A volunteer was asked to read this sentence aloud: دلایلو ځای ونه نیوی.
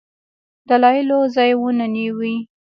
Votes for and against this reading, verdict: 0, 2, rejected